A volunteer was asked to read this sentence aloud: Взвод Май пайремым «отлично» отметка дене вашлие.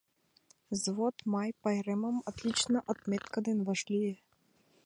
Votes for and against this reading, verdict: 5, 1, accepted